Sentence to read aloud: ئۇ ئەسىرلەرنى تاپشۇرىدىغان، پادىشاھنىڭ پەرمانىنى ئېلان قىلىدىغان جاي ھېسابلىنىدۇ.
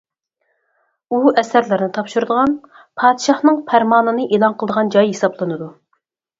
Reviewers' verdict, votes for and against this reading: rejected, 2, 4